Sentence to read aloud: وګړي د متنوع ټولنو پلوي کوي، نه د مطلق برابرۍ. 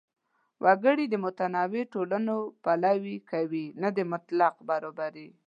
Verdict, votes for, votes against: accepted, 2, 1